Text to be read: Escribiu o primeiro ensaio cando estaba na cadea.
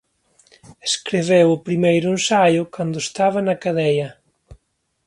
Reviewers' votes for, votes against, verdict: 2, 0, accepted